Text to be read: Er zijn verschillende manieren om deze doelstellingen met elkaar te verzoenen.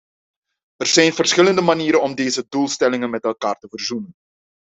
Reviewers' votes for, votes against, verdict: 2, 0, accepted